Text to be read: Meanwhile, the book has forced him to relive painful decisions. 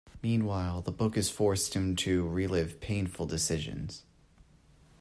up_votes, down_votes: 2, 0